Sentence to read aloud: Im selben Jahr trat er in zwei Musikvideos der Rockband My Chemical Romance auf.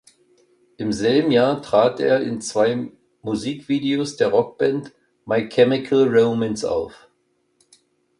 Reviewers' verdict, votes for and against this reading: accepted, 2, 0